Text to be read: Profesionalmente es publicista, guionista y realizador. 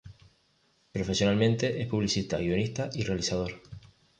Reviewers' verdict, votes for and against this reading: accepted, 2, 0